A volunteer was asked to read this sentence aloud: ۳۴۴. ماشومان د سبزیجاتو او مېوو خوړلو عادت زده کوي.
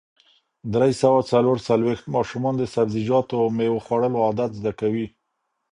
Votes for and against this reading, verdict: 0, 2, rejected